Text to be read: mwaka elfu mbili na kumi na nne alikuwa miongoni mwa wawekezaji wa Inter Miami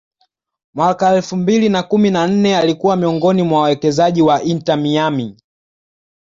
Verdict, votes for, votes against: accepted, 2, 0